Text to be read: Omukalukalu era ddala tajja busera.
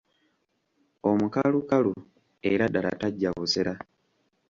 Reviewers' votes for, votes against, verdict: 2, 0, accepted